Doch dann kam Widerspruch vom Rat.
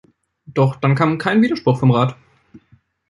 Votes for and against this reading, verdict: 0, 2, rejected